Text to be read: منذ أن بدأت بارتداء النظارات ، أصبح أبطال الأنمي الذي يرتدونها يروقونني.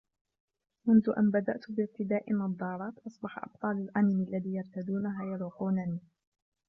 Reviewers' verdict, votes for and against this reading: accepted, 3, 1